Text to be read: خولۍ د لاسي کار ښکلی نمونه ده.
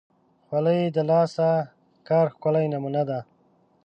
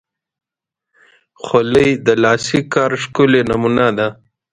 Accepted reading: second